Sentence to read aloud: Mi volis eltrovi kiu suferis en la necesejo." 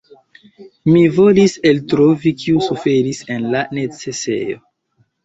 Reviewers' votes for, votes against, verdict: 2, 0, accepted